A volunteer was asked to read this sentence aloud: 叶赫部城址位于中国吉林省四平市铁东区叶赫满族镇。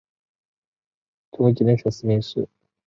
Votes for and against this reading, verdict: 0, 4, rejected